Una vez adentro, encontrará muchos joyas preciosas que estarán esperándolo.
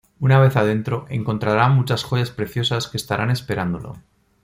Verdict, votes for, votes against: accepted, 2, 0